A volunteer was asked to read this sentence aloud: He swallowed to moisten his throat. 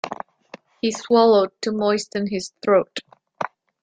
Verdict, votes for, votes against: accepted, 2, 0